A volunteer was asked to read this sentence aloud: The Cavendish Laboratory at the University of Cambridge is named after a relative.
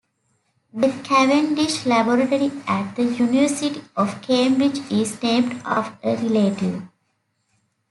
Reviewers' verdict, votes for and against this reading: rejected, 1, 2